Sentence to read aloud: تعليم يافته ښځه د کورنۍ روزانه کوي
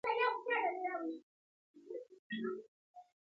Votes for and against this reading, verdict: 0, 2, rejected